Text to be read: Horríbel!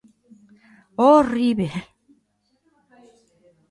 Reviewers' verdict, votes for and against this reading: accepted, 2, 1